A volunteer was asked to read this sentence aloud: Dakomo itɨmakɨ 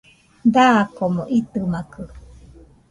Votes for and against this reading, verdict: 2, 0, accepted